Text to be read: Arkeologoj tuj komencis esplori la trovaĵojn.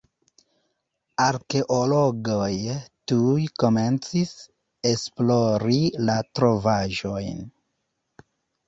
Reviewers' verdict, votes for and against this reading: accepted, 2, 1